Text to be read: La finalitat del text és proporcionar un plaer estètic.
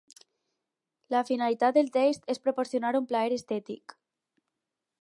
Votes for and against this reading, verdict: 4, 0, accepted